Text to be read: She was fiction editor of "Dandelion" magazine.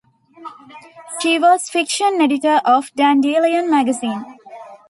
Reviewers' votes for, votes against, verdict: 2, 0, accepted